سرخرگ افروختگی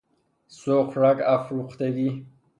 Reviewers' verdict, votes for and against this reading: rejected, 0, 3